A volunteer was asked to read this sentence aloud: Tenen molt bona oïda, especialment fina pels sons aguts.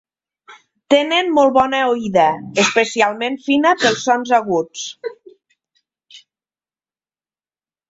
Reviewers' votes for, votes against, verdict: 1, 2, rejected